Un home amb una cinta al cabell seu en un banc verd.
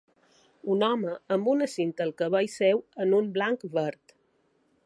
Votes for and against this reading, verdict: 1, 2, rejected